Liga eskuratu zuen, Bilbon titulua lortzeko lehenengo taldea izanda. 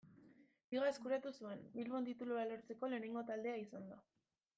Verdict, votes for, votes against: rejected, 1, 2